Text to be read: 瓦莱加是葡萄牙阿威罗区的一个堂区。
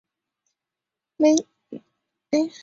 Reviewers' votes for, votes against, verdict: 0, 2, rejected